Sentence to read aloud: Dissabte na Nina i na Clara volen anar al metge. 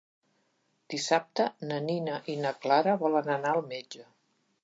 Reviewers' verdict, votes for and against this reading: accepted, 3, 0